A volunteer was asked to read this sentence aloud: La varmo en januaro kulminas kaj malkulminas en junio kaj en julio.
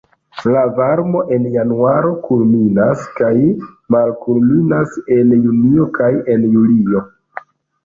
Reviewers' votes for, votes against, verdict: 2, 0, accepted